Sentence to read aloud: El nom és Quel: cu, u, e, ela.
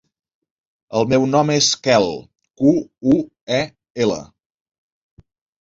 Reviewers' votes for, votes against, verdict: 0, 2, rejected